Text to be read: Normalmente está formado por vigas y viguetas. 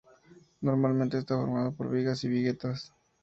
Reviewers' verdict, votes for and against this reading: rejected, 0, 2